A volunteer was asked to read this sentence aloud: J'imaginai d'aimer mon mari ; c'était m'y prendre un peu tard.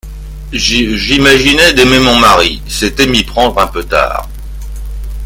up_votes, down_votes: 1, 2